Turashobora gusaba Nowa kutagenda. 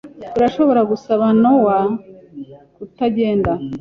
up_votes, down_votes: 2, 0